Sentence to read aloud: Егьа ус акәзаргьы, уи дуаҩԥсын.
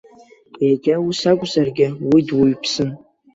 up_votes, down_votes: 2, 0